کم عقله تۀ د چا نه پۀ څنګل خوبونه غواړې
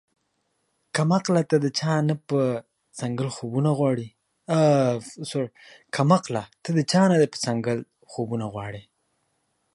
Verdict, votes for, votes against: rejected, 0, 2